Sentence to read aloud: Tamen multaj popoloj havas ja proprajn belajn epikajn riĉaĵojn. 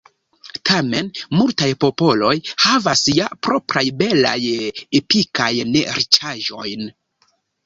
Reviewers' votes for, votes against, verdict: 1, 2, rejected